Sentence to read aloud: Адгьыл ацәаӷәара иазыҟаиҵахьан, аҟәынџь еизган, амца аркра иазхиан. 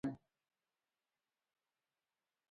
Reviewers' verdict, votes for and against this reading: rejected, 0, 2